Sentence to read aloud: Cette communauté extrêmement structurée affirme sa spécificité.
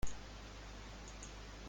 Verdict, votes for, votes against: rejected, 0, 2